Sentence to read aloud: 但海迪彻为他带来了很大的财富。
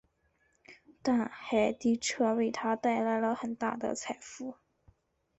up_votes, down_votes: 2, 0